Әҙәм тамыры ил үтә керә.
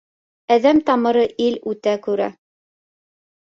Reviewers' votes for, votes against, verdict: 1, 2, rejected